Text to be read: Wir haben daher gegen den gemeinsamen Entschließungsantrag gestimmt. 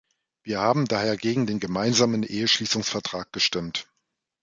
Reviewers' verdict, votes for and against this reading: rejected, 2, 3